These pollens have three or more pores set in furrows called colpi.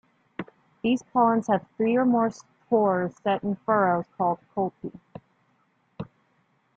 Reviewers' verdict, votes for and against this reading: rejected, 0, 2